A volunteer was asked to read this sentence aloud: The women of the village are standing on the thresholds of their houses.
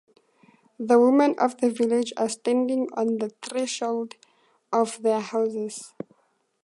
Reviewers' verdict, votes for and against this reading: accepted, 2, 0